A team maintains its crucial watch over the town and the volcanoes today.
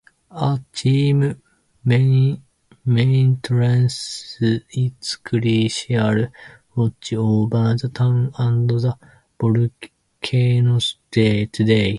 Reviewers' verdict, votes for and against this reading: rejected, 0, 2